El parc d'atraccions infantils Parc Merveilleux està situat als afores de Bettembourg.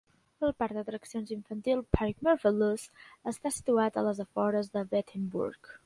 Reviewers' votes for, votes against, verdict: 1, 2, rejected